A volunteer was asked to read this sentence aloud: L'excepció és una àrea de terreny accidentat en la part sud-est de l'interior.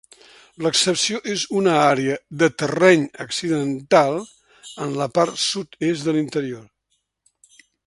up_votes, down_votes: 1, 2